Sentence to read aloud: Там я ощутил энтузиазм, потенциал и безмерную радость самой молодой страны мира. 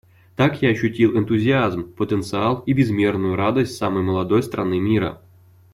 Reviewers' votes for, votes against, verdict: 1, 2, rejected